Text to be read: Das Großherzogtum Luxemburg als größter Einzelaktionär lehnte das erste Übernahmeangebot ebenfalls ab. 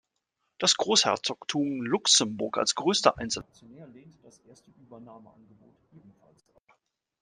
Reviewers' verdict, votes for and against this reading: rejected, 1, 2